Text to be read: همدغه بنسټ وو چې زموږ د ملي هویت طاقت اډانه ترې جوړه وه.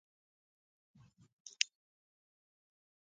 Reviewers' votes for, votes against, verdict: 0, 2, rejected